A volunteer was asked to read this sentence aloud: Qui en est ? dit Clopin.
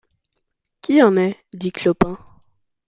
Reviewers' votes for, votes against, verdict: 2, 0, accepted